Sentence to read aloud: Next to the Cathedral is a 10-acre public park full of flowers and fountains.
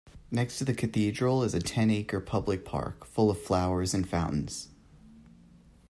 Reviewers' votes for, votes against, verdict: 0, 2, rejected